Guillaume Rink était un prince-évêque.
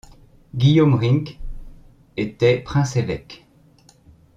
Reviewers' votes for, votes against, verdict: 0, 2, rejected